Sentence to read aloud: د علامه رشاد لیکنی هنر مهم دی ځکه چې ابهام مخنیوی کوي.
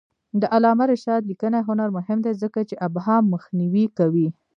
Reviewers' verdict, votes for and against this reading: rejected, 0, 2